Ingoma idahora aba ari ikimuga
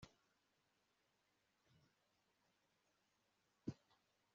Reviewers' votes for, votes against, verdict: 1, 2, rejected